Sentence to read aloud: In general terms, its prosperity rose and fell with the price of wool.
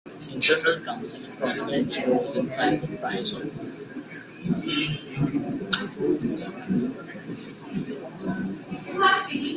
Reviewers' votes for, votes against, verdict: 0, 2, rejected